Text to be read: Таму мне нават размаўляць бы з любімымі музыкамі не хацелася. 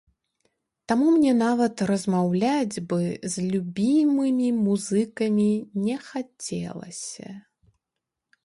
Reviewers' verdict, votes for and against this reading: accepted, 2, 1